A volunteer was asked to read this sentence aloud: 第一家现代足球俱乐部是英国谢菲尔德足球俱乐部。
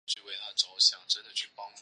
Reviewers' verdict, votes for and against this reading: rejected, 1, 3